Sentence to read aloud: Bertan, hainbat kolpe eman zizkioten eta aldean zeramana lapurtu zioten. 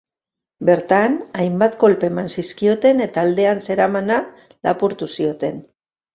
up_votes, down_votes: 3, 0